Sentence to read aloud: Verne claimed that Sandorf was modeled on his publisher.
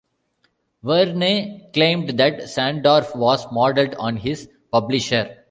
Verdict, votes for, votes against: accepted, 2, 0